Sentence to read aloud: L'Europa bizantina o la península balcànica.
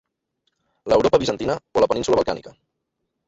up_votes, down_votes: 1, 2